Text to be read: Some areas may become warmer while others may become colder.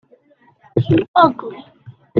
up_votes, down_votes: 0, 2